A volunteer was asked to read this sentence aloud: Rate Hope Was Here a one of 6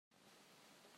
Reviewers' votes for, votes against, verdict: 0, 2, rejected